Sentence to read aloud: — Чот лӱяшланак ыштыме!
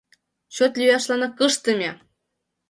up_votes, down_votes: 2, 0